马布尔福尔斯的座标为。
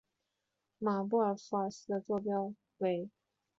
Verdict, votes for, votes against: rejected, 0, 2